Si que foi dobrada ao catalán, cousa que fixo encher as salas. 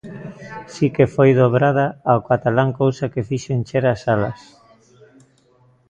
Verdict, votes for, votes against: accepted, 2, 0